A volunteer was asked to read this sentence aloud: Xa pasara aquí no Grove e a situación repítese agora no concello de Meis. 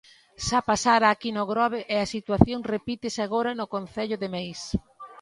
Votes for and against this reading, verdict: 2, 0, accepted